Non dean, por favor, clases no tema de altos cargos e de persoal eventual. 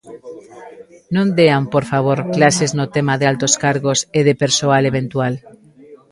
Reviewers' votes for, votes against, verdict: 1, 2, rejected